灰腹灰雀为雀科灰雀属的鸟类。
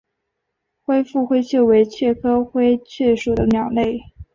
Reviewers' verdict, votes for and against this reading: accepted, 2, 1